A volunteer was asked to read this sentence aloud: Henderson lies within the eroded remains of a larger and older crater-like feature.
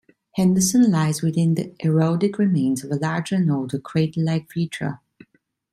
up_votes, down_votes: 1, 2